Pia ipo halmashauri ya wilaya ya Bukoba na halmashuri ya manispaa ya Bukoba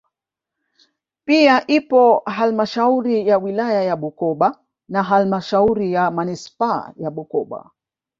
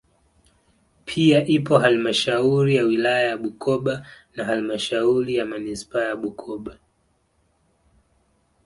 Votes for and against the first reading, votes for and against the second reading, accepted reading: 1, 2, 2, 0, second